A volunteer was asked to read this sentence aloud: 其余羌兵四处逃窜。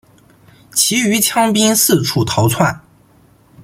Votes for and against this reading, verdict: 2, 0, accepted